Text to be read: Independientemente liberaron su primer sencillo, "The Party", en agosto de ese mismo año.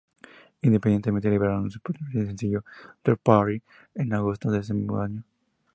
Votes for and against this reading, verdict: 0, 2, rejected